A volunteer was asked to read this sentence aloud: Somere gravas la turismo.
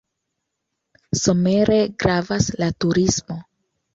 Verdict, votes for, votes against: accepted, 2, 1